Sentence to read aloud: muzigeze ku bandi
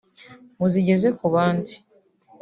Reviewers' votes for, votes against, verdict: 3, 0, accepted